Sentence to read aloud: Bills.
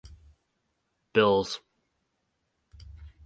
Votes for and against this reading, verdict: 4, 0, accepted